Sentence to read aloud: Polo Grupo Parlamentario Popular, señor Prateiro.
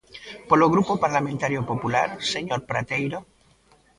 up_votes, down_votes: 0, 2